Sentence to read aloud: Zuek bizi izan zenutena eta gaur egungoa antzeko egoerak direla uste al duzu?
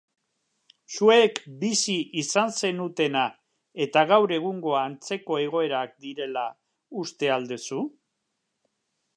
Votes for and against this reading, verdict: 0, 3, rejected